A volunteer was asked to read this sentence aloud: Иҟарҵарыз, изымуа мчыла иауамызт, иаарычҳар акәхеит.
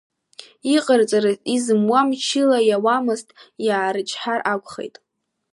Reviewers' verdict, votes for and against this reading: accepted, 2, 1